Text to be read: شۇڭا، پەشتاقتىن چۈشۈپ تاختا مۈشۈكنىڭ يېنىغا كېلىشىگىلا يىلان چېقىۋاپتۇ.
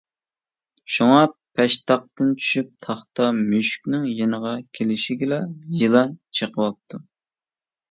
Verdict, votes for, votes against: accepted, 2, 0